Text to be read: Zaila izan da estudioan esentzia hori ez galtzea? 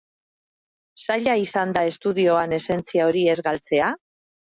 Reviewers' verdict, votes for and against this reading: accepted, 3, 0